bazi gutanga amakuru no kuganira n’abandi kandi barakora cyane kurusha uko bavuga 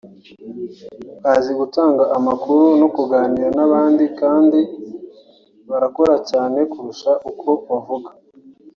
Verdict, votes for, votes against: accepted, 2, 1